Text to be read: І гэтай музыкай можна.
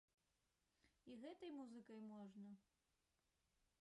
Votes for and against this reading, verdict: 0, 2, rejected